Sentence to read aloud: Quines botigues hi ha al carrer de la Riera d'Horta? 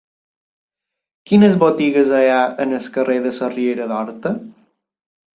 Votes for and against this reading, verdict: 0, 2, rejected